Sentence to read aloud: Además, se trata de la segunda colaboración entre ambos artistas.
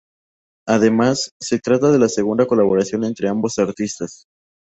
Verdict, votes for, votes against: accepted, 2, 0